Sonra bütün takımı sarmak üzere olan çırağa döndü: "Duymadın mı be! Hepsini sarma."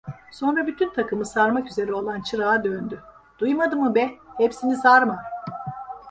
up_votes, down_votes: 1, 2